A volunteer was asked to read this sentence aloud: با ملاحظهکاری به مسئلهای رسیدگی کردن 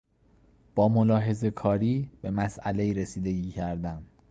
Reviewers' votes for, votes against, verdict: 3, 0, accepted